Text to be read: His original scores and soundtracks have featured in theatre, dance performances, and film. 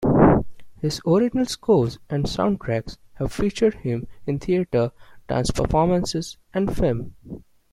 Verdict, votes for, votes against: rejected, 0, 2